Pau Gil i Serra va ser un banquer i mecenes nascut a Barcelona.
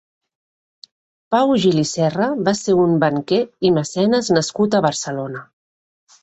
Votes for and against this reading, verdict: 3, 0, accepted